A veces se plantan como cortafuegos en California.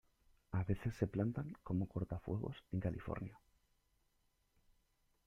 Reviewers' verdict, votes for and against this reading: rejected, 1, 2